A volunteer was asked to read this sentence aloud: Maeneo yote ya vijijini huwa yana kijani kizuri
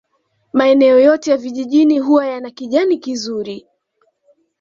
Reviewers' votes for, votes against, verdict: 2, 0, accepted